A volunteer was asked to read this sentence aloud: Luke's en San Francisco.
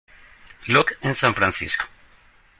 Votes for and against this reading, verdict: 1, 2, rejected